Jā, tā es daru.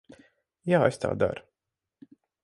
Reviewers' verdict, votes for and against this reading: rejected, 0, 4